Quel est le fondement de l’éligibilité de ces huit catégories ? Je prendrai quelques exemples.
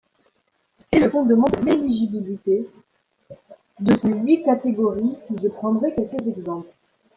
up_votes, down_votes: 0, 2